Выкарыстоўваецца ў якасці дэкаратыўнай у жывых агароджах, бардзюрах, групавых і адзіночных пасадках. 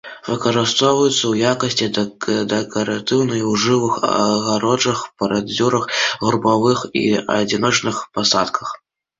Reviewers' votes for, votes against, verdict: 0, 2, rejected